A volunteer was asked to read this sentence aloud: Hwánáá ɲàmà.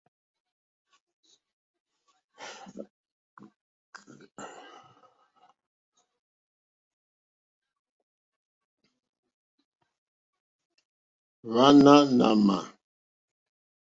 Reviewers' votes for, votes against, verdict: 1, 2, rejected